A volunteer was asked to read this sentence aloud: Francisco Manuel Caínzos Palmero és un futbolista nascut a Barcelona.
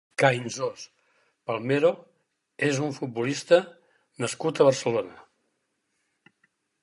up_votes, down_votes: 2, 6